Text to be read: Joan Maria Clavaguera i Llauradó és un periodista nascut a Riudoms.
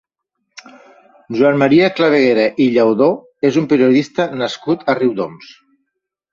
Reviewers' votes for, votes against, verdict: 1, 2, rejected